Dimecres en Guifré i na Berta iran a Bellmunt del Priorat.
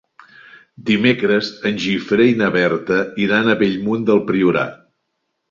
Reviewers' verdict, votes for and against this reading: rejected, 0, 2